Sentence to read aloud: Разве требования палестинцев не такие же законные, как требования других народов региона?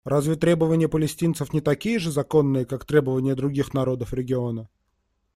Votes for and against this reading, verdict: 2, 0, accepted